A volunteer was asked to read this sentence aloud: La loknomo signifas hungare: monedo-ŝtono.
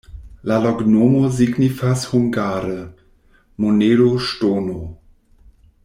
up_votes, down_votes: 2, 0